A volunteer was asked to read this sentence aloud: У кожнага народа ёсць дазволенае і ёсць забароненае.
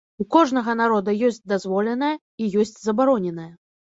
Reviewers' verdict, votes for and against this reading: accepted, 2, 0